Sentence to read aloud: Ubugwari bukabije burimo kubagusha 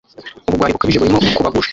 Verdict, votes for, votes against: rejected, 1, 2